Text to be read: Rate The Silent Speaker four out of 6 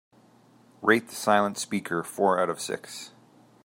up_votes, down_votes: 0, 2